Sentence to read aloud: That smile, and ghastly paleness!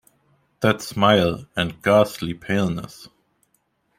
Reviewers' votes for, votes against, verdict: 2, 0, accepted